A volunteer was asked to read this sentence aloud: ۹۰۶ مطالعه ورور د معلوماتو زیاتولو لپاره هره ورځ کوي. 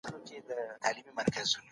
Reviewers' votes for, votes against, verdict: 0, 2, rejected